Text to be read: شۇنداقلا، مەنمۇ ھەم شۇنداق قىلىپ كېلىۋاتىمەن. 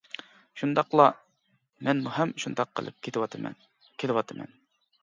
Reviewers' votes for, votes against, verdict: 0, 2, rejected